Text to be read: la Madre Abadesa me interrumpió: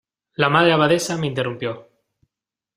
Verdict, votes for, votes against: accepted, 2, 0